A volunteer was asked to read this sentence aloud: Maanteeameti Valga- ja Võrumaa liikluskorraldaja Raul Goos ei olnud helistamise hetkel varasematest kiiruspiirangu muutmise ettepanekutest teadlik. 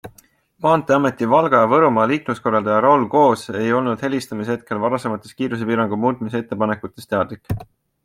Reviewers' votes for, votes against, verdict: 4, 0, accepted